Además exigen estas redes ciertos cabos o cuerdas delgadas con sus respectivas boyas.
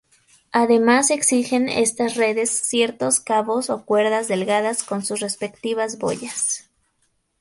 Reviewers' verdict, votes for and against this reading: accepted, 2, 0